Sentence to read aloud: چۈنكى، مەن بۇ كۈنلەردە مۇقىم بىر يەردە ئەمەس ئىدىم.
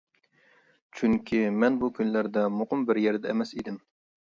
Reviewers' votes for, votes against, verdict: 2, 0, accepted